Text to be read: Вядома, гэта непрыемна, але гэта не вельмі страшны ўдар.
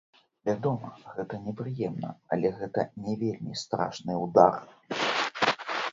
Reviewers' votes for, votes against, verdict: 2, 3, rejected